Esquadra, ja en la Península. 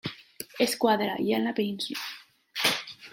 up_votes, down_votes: 1, 2